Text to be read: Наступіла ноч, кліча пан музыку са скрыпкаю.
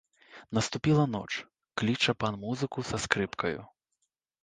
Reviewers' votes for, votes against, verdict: 0, 2, rejected